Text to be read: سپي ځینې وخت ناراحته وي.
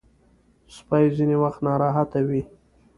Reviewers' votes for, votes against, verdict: 1, 2, rejected